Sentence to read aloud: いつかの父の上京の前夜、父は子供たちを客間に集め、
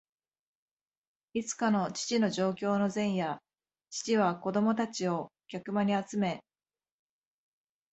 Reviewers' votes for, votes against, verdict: 2, 0, accepted